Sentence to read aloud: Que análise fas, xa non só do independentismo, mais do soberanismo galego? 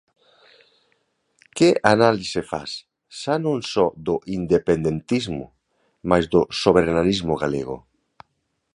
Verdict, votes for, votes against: rejected, 1, 2